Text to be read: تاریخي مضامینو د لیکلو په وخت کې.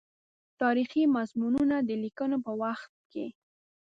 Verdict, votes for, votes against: rejected, 1, 2